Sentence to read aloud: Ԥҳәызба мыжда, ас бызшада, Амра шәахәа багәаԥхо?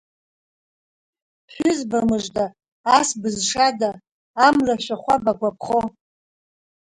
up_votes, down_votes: 4, 2